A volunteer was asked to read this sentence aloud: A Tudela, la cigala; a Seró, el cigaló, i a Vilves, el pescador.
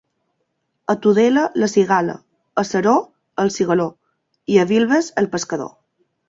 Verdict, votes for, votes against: accepted, 2, 1